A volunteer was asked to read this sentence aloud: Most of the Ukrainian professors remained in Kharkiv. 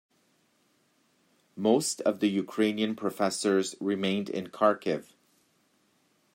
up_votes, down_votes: 2, 0